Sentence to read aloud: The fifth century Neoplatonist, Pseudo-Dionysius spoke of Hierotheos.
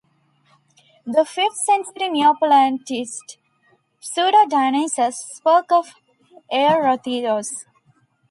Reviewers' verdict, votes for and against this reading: rejected, 1, 2